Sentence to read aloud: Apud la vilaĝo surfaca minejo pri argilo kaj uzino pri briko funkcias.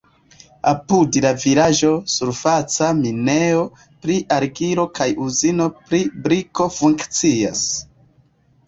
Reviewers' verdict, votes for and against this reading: accepted, 2, 1